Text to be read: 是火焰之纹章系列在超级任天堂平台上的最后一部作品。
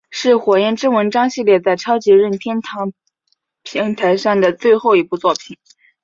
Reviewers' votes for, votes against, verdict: 3, 0, accepted